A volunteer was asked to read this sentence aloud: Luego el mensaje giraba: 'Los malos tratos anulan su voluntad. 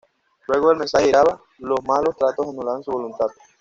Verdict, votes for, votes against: accepted, 2, 0